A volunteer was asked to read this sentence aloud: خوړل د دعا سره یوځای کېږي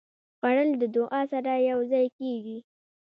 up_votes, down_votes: 2, 0